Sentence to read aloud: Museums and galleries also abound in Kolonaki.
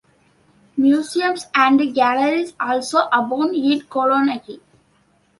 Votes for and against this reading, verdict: 2, 1, accepted